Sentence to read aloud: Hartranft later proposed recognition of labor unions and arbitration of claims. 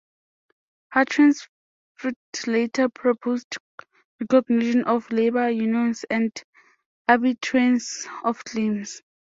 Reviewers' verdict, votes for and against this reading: rejected, 0, 2